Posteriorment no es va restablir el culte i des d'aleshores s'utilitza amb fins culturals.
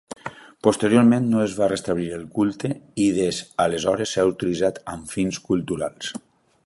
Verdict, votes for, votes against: rejected, 1, 2